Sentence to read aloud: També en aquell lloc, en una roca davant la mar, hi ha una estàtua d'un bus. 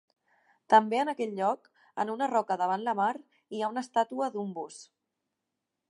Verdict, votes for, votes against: accepted, 2, 0